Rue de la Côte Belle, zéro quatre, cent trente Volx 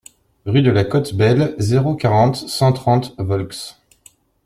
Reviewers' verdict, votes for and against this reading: rejected, 1, 2